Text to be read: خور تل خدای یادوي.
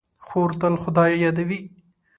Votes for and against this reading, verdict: 2, 0, accepted